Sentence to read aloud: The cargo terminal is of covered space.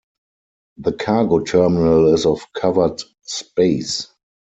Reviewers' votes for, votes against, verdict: 2, 4, rejected